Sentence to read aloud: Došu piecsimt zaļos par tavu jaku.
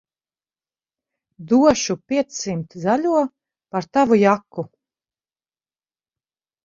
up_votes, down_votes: 2, 4